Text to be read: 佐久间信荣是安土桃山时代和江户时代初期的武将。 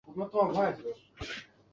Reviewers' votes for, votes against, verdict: 2, 5, rejected